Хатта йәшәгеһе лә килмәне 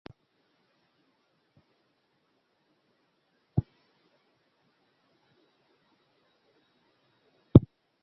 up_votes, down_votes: 0, 2